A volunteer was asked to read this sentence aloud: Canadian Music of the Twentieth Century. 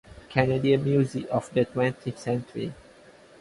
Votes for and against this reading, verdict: 4, 0, accepted